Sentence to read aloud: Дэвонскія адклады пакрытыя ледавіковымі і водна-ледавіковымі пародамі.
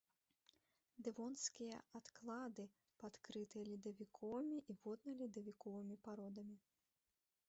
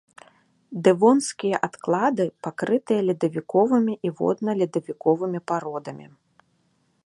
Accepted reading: second